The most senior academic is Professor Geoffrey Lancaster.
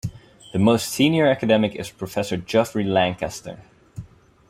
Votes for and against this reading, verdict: 4, 0, accepted